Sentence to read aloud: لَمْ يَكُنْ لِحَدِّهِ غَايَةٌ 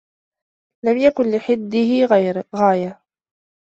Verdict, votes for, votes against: rejected, 1, 2